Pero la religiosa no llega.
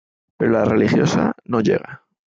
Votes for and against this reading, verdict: 2, 0, accepted